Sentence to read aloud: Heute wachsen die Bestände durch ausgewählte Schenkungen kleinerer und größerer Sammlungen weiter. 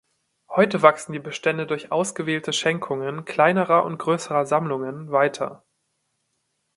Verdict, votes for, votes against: accepted, 2, 0